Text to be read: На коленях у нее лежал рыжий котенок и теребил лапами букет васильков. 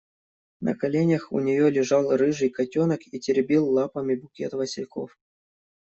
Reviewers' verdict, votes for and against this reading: accepted, 2, 0